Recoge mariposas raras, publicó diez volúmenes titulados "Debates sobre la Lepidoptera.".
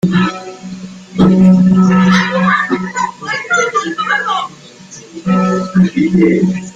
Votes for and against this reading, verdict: 0, 2, rejected